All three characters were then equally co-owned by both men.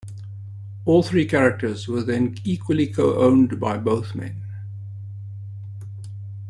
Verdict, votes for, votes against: accepted, 2, 0